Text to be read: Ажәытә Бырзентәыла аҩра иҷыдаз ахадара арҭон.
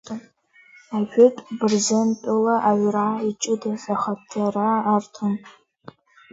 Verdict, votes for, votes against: accepted, 2, 1